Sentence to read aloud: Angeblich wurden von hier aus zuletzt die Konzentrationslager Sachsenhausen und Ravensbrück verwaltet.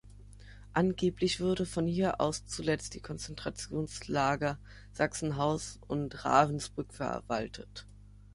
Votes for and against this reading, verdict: 0, 3, rejected